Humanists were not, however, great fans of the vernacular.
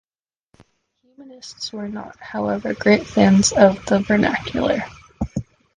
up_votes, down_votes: 0, 2